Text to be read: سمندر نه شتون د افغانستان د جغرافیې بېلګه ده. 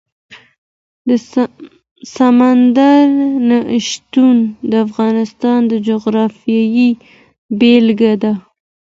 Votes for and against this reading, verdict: 1, 2, rejected